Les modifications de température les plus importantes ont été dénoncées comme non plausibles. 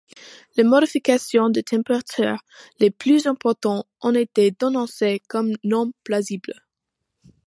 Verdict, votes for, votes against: accepted, 2, 0